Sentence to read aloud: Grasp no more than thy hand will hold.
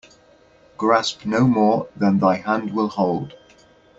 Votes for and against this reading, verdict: 2, 1, accepted